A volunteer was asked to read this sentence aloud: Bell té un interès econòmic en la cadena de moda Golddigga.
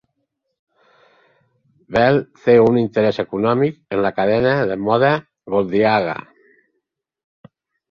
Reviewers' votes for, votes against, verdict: 1, 4, rejected